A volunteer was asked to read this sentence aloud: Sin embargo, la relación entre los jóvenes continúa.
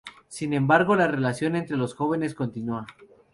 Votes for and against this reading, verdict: 4, 0, accepted